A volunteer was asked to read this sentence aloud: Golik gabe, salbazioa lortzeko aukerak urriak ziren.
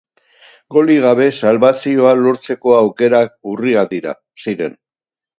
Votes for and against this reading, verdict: 0, 2, rejected